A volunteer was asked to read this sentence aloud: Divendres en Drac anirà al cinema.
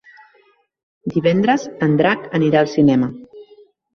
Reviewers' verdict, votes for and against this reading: rejected, 1, 2